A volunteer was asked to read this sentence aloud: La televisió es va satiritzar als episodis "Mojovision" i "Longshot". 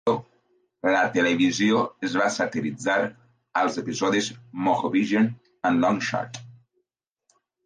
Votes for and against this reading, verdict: 1, 2, rejected